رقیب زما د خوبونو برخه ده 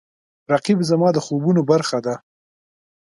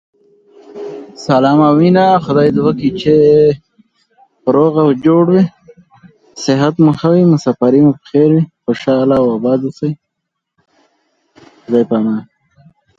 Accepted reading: first